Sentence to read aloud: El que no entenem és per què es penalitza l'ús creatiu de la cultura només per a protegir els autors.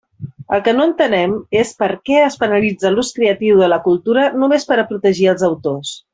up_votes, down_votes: 2, 0